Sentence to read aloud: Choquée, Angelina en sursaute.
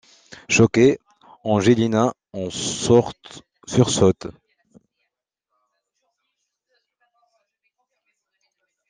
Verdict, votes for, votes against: rejected, 0, 2